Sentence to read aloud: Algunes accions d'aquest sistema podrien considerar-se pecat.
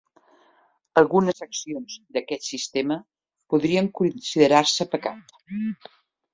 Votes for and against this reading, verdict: 2, 0, accepted